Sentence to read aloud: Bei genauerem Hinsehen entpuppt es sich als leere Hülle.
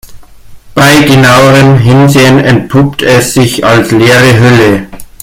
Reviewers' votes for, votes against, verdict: 2, 0, accepted